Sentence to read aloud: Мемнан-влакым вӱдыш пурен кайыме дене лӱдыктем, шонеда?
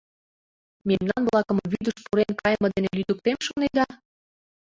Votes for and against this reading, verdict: 0, 2, rejected